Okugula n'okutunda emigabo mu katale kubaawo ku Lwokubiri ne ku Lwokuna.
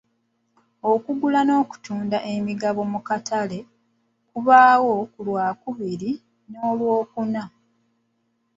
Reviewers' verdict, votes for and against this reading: rejected, 0, 2